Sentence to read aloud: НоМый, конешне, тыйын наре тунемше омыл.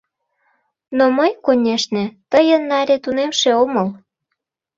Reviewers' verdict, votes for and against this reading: rejected, 1, 2